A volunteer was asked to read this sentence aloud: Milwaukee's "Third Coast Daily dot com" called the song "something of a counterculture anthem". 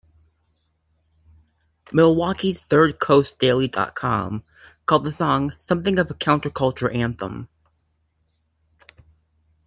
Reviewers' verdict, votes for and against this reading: accepted, 3, 0